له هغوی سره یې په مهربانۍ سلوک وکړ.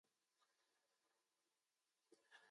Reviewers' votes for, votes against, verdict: 1, 2, rejected